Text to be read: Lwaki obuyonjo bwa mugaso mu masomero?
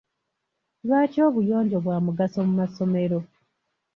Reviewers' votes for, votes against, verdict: 2, 0, accepted